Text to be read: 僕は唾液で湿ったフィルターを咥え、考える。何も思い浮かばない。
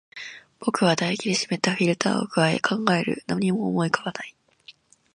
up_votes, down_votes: 2, 0